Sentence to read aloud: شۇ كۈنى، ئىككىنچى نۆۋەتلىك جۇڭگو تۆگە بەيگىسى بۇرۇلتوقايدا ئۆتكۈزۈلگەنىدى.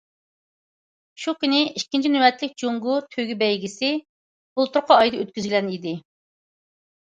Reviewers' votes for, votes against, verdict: 0, 2, rejected